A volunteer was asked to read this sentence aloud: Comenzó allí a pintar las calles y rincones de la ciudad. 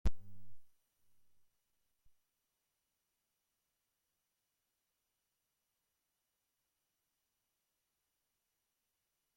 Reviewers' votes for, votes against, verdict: 0, 2, rejected